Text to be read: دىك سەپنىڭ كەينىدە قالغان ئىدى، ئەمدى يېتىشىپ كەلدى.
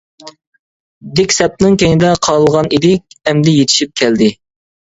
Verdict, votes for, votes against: accepted, 2, 0